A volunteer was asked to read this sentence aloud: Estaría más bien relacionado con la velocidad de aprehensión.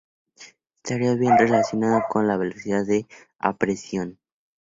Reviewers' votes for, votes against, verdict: 0, 2, rejected